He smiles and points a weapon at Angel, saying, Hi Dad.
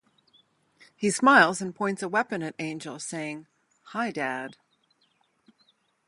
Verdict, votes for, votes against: rejected, 2, 2